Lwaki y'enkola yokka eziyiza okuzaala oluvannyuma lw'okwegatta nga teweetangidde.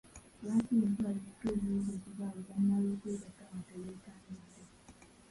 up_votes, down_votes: 0, 2